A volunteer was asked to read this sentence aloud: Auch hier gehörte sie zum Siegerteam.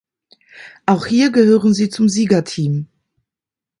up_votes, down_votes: 1, 2